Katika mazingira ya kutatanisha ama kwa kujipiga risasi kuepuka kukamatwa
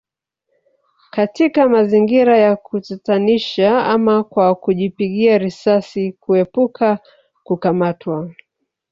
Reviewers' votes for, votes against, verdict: 1, 2, rejected